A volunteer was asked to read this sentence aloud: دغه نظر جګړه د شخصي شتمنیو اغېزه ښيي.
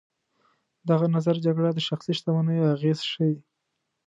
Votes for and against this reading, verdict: 2, 0, accepted